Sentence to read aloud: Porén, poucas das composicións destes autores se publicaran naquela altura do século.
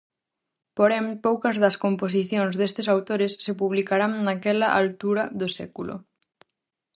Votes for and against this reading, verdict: 0, 4, rejected